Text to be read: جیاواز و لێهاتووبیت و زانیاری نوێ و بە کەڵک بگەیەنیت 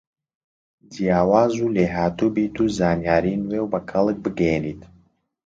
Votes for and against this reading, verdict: 2, 0, accepted